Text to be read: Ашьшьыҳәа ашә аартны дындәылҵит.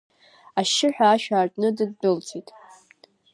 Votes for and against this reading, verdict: 2, 0, accepted